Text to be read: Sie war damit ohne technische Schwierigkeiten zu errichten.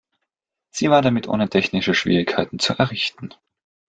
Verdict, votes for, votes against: accepted, 2, 0